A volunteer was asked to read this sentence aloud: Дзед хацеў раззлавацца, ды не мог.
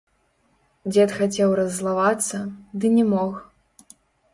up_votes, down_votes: 0, 2